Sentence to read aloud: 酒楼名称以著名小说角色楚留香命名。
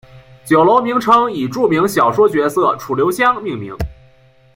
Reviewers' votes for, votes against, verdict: 2, 0, accepted